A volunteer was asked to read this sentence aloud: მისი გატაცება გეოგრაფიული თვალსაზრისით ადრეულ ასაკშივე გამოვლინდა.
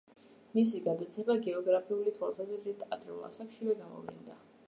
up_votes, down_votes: 1, 2